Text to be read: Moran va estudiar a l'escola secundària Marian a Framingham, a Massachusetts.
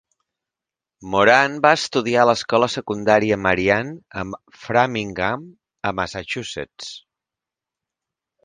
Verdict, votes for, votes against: accepted, 3, 0